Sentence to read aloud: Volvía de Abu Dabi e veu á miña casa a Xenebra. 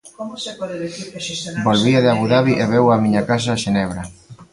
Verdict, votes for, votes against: rejected, 0, 2